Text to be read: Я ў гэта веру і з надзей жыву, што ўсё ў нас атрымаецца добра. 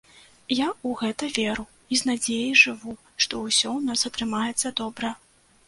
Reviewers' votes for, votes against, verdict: 1, 2, rejected